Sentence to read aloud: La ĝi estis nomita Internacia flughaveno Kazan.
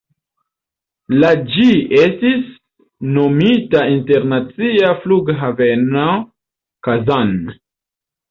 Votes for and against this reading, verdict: 1, 2, rejected